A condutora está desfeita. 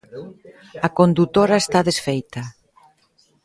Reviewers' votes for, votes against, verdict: 2, 1, accepted